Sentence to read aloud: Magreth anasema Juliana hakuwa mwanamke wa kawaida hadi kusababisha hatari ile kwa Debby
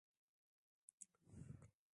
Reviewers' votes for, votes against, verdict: 0, 3, rejected